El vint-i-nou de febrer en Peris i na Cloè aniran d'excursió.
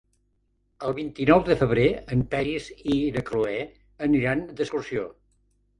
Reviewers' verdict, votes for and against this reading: accepted, 3, 0